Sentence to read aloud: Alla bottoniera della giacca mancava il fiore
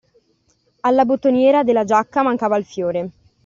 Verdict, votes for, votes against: accepted, 2, 0